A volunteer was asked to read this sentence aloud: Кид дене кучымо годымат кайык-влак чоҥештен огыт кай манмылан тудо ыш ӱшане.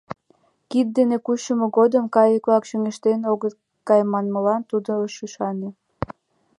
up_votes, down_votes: 1, 2